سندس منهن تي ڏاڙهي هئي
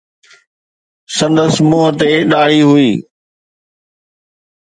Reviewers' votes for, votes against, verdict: 2, 0, accepted